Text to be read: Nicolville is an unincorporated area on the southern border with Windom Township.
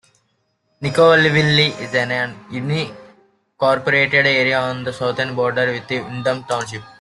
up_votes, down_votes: 0, 2